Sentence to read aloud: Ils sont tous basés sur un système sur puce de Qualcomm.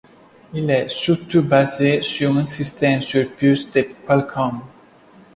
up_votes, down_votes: 0, 2